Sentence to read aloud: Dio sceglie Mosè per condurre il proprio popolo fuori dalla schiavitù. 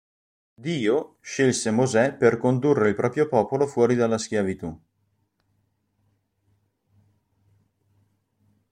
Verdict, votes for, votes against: rejected, 0, 3